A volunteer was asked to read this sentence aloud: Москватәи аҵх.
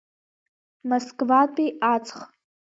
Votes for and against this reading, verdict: 2, 0, accepted